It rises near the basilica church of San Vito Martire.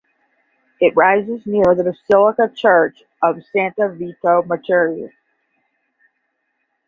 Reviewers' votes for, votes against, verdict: 5, 5, rejected